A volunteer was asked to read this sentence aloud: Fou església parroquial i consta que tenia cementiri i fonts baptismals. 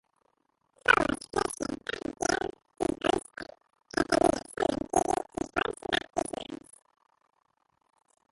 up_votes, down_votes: 0, 2